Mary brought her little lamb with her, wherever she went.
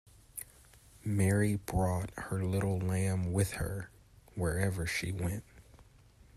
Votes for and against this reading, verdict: 2, 0, accepted